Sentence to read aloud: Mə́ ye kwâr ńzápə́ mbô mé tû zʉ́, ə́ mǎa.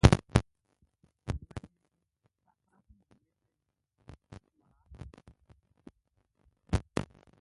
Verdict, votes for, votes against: rejected, 0, 2